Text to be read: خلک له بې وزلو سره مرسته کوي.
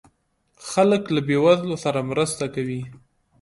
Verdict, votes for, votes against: rejected, 1, 2